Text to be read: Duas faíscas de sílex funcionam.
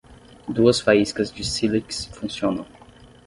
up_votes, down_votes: 6, 0